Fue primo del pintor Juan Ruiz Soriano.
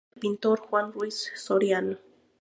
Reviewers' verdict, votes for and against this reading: rejected, 2, 2